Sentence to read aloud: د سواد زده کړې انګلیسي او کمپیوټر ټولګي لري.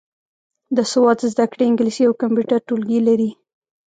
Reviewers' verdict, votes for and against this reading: accepted, 2, 0